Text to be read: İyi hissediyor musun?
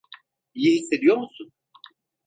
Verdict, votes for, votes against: accepted, 2, 0